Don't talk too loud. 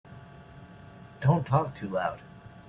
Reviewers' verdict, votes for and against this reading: accepted, 2, 0